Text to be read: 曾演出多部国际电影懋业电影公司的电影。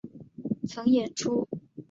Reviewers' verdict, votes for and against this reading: rejected, 0, 2